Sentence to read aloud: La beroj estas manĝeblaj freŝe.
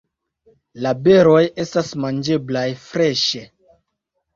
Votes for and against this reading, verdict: 2, 0, accepted